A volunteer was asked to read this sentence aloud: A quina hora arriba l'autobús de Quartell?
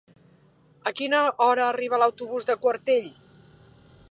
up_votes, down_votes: 2, 0